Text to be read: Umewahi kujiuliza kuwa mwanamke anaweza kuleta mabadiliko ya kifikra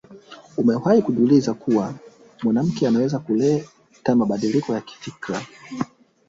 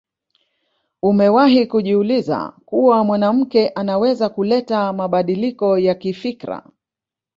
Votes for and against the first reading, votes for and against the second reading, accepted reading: 6, 8, 3, 1, second